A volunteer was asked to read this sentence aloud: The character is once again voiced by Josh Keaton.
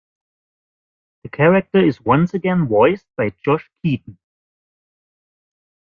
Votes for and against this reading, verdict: 0, 2, rejected